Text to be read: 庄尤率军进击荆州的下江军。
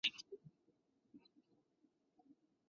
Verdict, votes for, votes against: rejected, 0, 3